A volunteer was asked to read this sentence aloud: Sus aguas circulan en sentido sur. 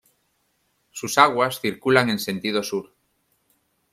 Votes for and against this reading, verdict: 2, 1, accepted